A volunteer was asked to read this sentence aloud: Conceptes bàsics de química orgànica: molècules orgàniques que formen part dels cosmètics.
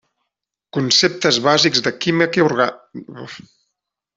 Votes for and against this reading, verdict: 0, 2, rejected